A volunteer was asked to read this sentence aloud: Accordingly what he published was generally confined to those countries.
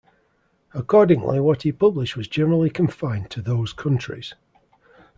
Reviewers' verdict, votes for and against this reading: accepted, 2, 0